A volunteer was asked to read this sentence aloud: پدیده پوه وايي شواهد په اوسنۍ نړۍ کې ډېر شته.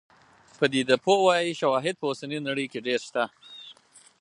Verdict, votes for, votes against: accepted, 4, 0